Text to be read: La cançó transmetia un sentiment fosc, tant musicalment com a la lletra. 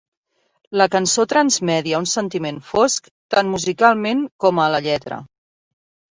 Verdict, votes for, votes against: rejected, 1, 2